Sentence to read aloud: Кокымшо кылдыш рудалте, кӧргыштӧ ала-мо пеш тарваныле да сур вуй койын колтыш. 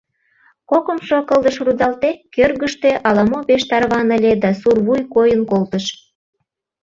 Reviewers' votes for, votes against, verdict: 2, 1, accepted